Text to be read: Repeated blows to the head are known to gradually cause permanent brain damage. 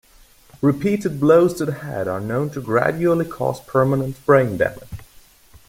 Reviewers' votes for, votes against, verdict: 2, 0, accepted